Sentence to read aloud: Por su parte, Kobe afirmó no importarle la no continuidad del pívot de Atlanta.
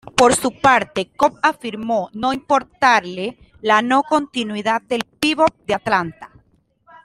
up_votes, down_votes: 2, 0